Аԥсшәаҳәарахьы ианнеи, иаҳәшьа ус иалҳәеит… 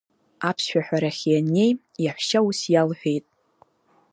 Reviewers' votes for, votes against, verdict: 2, 1, accepted